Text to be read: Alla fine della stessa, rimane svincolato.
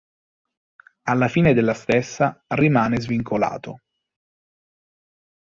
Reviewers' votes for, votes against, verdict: 2, 0, accepted